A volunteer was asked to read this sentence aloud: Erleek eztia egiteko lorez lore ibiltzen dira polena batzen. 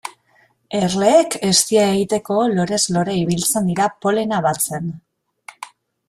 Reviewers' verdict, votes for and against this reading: accepted, 2, 0